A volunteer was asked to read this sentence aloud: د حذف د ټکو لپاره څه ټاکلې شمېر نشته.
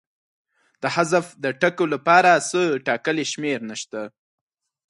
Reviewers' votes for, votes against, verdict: 4, 0, accepted